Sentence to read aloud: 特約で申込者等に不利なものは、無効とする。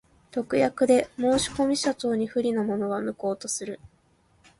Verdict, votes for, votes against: accepted, 2, 0